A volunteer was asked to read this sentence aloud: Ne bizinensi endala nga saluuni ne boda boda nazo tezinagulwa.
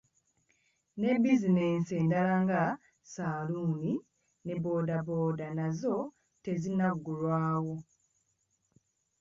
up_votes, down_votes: 0, 2